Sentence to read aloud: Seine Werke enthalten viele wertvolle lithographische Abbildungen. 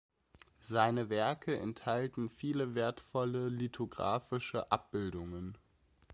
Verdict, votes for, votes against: accepted, 2, 0